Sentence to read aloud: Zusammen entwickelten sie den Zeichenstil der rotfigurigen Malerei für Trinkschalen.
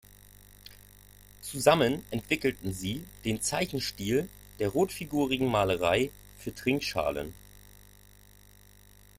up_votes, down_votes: 0, 2